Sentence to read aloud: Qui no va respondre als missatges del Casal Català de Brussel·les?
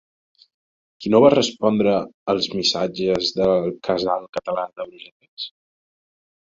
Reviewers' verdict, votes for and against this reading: rejected, 1, 2